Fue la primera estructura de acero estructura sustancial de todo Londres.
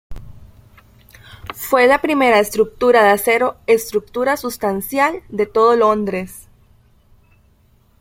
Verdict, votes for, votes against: accepted, 2, 0